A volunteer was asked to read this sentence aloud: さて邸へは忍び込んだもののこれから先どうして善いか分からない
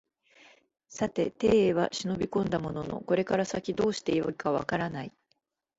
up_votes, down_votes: 2, 0